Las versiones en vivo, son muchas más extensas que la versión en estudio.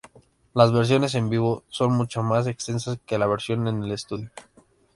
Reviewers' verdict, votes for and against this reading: accepted, 2, 0